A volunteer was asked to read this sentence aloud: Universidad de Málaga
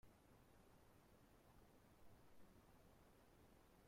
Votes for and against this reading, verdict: 0, 2, rejected